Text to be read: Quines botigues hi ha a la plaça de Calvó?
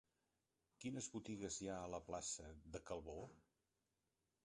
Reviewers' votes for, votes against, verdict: 1, 2, rejected